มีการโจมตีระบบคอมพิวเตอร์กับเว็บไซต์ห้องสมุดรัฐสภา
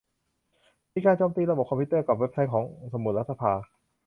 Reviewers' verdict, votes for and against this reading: rejected, 1, 2